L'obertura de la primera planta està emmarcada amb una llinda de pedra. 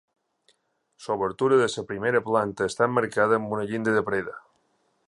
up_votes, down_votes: 1, 2